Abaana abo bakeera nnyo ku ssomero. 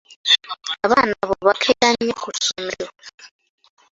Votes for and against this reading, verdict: 2, 0, accepted